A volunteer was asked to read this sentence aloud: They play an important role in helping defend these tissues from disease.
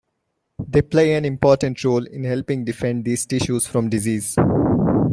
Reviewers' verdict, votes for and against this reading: accepted, 2, 1